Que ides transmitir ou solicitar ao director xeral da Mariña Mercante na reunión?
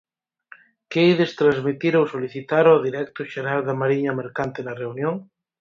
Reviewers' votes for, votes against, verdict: 0, 4, rejected